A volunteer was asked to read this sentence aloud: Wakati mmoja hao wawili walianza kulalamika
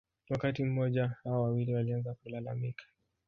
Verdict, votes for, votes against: accepted, 2, 1